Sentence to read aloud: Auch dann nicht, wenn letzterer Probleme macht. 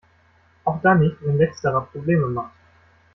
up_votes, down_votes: 1, 2